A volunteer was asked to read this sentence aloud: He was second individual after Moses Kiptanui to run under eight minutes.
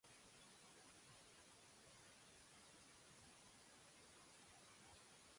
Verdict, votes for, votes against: rejected, 0, 2